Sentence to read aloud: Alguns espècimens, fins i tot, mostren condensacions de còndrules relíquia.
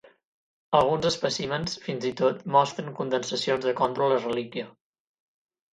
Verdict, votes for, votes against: accepted, 8, 0